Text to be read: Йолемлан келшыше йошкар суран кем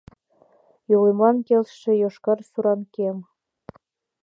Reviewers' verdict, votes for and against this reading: accepted, 2, 0